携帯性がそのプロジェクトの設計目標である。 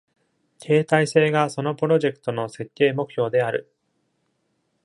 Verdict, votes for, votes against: accepted, 2, 0